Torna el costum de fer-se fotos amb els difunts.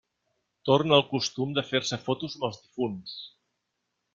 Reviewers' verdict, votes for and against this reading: rejected, 0, 2